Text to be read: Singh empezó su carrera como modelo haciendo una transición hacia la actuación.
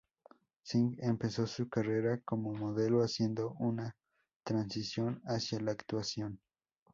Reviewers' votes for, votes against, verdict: 0, 4, rejected